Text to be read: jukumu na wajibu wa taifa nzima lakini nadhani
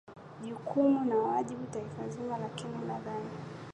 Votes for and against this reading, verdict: 2, 0, accepted